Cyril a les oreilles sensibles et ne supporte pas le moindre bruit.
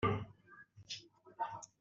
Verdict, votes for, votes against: rejected, 0, 2